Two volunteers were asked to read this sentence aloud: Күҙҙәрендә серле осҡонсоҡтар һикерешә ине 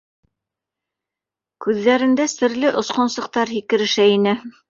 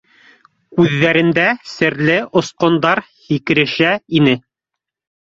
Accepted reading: first